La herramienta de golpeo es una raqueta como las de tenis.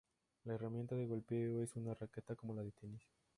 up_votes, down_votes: 2, 0